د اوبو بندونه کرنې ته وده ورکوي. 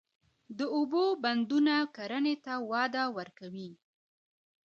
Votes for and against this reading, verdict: 2, 0, accepted